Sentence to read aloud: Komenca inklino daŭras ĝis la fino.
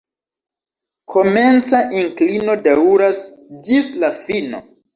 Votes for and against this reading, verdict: 2, 0, accepted